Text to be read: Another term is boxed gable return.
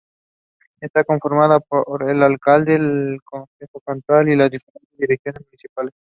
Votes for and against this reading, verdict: 0, 2, rejected